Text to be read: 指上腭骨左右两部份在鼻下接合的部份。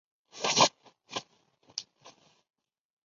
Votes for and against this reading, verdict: 0, 2, rejected